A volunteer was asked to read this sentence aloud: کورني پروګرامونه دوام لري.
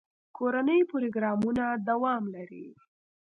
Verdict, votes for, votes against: accepted, 2, 0